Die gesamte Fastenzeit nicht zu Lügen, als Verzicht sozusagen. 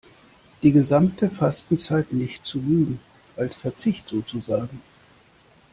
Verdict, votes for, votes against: accepted, 2, 0